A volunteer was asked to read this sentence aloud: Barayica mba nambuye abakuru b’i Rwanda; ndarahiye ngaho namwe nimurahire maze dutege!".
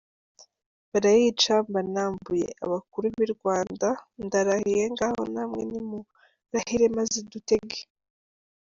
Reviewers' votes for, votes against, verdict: 2, 0, accepted